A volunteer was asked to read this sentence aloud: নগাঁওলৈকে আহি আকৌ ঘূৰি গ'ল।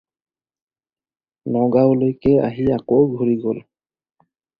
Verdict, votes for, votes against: accepted, 4, 0